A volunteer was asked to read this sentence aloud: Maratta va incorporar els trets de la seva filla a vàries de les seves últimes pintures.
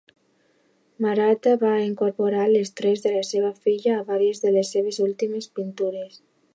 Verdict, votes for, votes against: accepted, 2, 0